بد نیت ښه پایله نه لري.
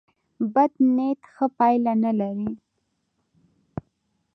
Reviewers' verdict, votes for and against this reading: rejected, 1, 2